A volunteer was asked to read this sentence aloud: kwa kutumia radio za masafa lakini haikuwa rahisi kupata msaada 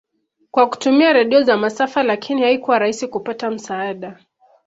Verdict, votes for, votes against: rejected, 0, 2